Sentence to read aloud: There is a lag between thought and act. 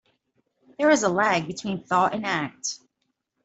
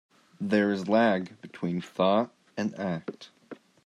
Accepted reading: first